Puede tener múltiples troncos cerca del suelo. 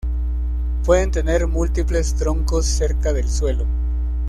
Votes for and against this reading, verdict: 1, 2, rejected